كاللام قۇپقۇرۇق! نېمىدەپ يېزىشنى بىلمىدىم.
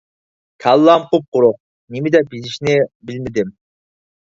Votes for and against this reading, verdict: 4, 0, accepted